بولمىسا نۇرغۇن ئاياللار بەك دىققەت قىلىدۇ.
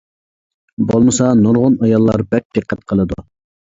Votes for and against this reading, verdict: 2, 0, accepted